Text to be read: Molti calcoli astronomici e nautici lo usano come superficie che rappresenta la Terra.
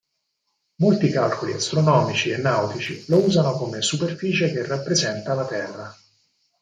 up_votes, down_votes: 4, 0